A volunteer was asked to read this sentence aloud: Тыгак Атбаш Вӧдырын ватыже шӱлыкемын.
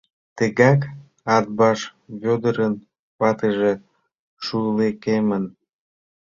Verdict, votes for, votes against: rejected, 0, 2